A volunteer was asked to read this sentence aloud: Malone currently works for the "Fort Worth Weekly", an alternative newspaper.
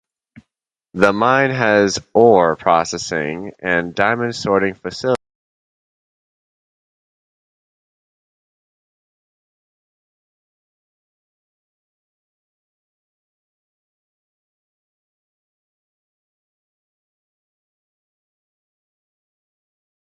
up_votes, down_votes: 0, 2